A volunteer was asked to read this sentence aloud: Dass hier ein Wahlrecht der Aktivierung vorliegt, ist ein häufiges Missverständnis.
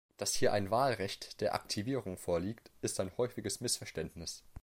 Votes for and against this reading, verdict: 2, 0, accepted